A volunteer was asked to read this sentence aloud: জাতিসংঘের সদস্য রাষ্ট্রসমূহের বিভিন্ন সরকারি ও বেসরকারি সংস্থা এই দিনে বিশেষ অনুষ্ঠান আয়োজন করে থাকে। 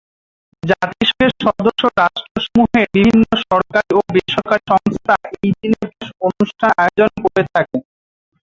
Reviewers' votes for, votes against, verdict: 2, 4, rejected